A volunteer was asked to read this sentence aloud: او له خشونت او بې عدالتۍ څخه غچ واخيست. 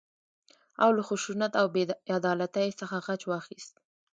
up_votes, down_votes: 1, 2